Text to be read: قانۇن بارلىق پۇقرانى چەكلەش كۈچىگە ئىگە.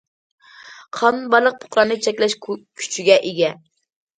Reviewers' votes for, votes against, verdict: 0, 2, rejected